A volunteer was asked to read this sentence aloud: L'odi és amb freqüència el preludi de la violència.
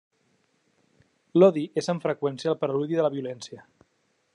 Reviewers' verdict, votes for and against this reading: accepted, 2, 0